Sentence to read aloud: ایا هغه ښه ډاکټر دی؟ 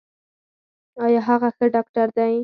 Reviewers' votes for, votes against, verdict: 4, 0, accepted